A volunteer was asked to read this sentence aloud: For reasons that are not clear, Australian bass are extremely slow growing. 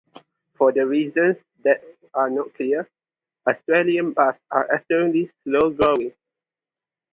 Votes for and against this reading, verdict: 2, 2, rejected